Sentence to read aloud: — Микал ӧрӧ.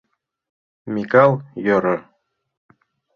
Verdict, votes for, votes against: rejected, 0, 2